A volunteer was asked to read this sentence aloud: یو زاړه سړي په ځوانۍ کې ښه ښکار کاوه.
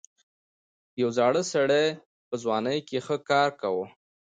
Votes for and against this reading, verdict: 2, 0, accepted